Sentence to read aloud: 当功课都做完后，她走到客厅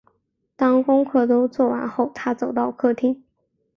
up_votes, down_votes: 4, 0